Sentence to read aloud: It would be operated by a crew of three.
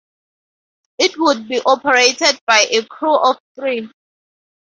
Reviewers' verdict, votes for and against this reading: accepted, 4, 0